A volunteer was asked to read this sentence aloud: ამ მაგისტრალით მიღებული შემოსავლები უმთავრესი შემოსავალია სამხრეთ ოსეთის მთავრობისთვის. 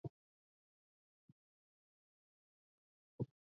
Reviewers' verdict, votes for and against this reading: rejected, 0, 2